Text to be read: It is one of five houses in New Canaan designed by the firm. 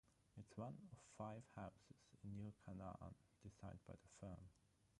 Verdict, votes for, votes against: rejected, 0, 3